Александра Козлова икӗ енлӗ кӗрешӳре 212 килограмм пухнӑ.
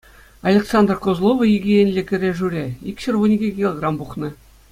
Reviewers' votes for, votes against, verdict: 0, 2, rejected